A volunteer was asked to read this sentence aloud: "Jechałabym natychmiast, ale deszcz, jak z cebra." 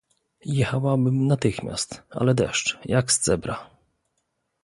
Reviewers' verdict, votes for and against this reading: rejected, 0, 2